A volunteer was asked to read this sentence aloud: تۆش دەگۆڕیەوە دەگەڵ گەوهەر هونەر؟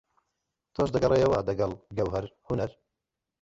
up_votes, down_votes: 1, 2